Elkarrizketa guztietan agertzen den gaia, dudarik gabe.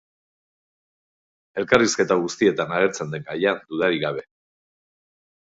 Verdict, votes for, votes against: rejected, 2, 2